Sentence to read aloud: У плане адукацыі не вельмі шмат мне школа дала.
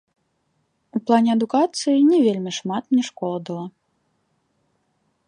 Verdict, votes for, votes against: accepted, 2, 0